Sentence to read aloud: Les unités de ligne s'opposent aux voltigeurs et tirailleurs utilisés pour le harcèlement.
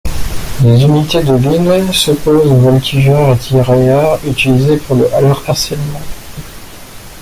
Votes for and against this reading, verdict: 0, 2, rejected